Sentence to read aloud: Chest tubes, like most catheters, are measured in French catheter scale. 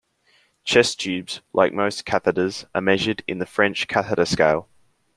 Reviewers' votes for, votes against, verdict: 1, 2, rejected